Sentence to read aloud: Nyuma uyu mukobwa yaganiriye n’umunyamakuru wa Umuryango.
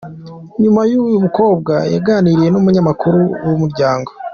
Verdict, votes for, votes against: rejected, 1, 2